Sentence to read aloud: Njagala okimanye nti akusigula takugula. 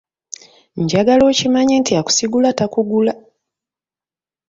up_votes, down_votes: 2, 0